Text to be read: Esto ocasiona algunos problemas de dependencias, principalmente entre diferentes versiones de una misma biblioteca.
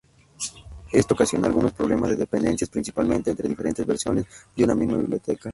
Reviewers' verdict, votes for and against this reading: rejected, 2, 2